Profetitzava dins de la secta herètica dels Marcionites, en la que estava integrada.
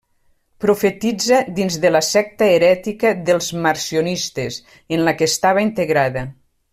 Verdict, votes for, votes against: rejected, 1, 2